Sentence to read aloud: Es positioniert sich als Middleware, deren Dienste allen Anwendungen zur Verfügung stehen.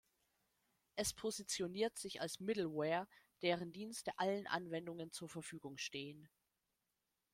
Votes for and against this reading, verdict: 2, 0, accepted